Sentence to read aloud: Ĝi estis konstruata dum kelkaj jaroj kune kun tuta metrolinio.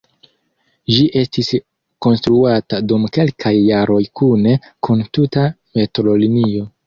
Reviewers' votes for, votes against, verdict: 0, 2, rejected